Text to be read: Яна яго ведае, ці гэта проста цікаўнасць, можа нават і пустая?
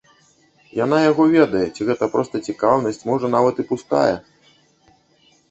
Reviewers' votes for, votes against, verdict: 1, 2, rejected